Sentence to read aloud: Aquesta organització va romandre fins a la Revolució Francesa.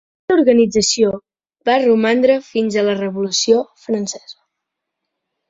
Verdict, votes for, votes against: rejected, 0, 3